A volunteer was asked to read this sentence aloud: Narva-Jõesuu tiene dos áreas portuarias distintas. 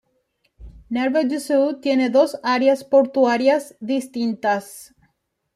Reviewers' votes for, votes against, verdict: 1, 2, rejected